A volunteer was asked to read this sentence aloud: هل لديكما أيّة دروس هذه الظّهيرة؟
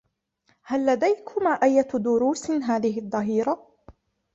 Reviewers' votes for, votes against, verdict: 2, 1, accepted